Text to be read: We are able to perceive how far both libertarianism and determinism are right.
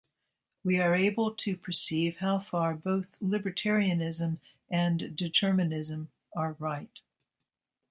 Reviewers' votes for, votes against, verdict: 2, 0, accepted